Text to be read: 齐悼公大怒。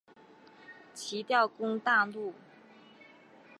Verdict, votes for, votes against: rejected, 0, 2